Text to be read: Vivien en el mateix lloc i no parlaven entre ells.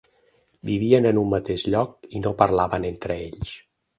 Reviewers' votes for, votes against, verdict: 0, 4, rejected